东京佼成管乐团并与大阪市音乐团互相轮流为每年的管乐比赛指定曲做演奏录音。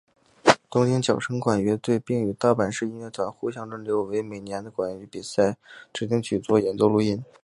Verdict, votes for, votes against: accepted, 3, 0